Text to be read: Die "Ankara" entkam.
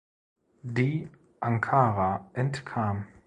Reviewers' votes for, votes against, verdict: 1, 2, rejected